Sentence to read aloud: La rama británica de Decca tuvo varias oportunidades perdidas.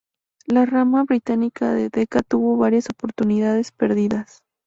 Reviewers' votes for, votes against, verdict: 2, 0, accepted